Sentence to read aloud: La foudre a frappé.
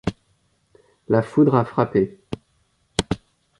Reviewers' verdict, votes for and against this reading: accepted, 2, 0